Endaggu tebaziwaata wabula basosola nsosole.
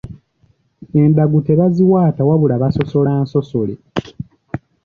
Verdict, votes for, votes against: rejected, 0, 2